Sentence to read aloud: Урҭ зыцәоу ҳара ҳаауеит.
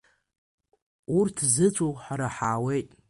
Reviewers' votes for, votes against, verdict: 1, 2, rejected